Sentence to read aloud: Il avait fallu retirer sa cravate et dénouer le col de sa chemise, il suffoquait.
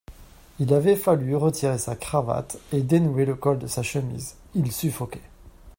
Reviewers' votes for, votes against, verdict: 2, 1, accepted